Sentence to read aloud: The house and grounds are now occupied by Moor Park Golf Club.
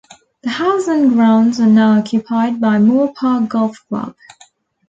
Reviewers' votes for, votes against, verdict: 2, 0, accepted